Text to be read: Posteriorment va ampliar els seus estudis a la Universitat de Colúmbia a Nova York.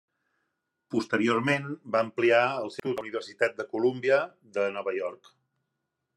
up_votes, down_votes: 0, 2